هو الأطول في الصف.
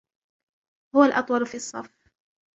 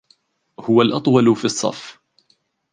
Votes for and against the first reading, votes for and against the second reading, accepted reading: 1, 2, 2, 1, second